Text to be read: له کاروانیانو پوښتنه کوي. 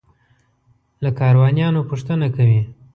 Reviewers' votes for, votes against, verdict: 3, 0, accepted